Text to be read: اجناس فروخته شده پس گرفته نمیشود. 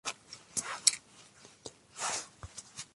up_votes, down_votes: 0, 2